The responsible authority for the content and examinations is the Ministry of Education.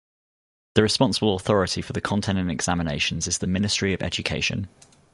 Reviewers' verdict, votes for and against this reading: rejected, 0, 2